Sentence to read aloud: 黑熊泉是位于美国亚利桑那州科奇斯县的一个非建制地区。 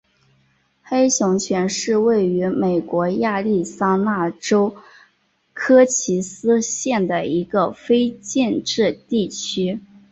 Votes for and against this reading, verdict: 2, 1, accepted